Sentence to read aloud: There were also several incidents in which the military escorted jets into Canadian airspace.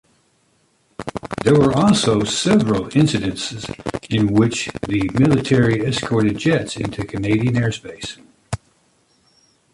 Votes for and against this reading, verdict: 2, 1, accepted